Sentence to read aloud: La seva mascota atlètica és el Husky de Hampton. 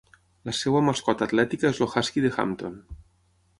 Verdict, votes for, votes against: accepted, 6, 0